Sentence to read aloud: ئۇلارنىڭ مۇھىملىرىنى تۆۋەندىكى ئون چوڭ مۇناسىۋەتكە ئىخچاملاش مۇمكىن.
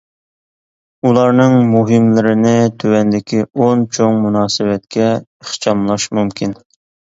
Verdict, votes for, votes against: accepted, 2, 0